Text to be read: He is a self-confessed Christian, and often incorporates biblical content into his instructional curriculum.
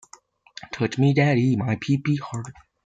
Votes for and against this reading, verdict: 0, 2, rejected